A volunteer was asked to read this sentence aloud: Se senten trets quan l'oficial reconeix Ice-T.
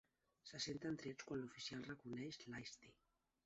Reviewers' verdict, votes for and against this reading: rejected, 0, 2